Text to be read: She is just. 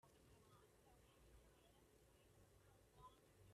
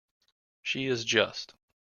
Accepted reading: second